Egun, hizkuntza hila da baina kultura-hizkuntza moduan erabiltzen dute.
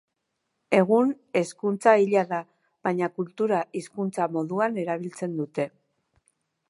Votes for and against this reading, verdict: 2, 3, rejected